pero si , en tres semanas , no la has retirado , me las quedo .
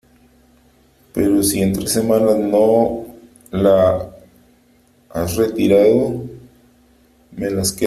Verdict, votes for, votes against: rejected, 0, 2